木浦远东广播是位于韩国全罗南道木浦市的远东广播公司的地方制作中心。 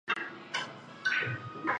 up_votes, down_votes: 0, 2